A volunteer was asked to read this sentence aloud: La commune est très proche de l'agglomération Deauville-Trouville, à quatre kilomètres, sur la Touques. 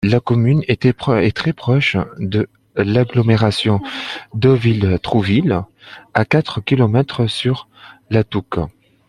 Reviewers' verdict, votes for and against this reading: accepted, 2, 1